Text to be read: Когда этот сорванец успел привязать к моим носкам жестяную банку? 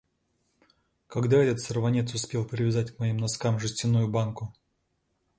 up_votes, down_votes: 2, 0